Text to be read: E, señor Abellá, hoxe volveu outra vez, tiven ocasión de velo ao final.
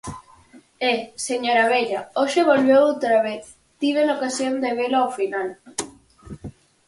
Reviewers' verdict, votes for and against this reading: rejected, 0, 4